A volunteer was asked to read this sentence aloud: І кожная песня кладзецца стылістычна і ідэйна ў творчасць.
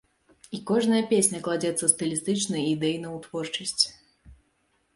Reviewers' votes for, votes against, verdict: 2, 0, accepted